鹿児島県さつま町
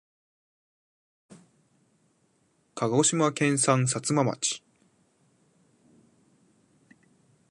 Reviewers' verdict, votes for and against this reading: rejected, 0, 2